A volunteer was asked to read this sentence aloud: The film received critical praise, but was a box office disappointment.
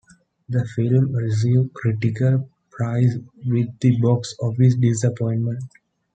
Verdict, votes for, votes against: rejected, 1, 2